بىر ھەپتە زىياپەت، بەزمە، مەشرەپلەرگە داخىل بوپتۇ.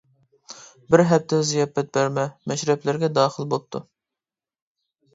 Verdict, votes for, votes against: rejected, 1, 2